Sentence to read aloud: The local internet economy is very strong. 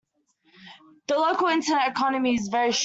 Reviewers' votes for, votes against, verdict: 0, 2, rejected